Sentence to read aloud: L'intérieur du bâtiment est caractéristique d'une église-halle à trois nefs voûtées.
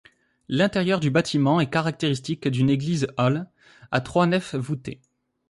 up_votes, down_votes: 2, 0